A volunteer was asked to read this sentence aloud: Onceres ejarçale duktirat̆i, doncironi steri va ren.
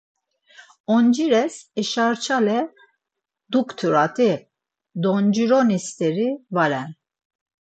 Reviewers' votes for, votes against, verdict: 2, 4, rejected